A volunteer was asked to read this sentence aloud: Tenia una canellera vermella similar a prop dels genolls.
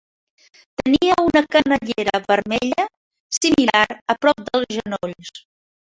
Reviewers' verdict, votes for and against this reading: accepted, 2, 0